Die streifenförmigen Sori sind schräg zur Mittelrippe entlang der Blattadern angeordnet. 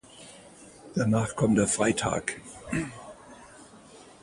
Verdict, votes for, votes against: rejected, 0, 2